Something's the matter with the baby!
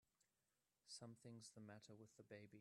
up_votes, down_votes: 1, 2